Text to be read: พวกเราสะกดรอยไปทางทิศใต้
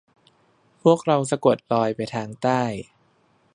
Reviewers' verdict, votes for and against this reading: rejected, 1, 2